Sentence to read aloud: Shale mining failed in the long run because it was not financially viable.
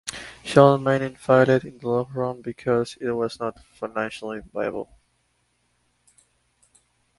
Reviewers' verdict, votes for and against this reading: rejected, 0, 4